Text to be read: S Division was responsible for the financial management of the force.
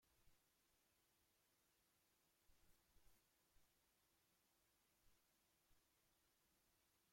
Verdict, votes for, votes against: rejected, 0, 2